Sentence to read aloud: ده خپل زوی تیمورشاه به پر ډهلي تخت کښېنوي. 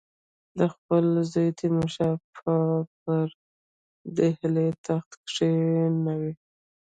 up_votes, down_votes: 0, 2